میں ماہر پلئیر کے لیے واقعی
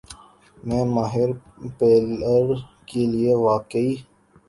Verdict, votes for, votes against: rejected, 2, 3